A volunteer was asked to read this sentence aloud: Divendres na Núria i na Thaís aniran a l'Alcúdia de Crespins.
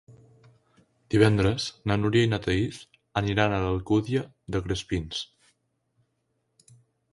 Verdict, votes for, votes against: accepted, 2, 0